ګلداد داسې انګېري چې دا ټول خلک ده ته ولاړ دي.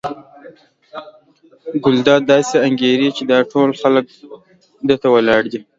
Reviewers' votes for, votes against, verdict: 2, 0, accepted